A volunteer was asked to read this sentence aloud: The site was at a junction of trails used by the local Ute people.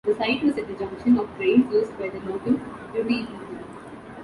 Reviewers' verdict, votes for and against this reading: rejected, 1, 2